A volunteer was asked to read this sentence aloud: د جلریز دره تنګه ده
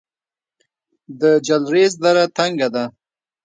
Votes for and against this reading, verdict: 2, 1, accepted